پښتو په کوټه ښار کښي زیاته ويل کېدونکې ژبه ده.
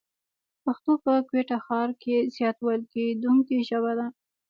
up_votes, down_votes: 1, 2